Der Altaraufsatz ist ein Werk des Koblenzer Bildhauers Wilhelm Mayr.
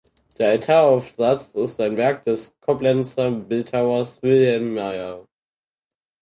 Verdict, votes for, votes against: accepted, 4, 2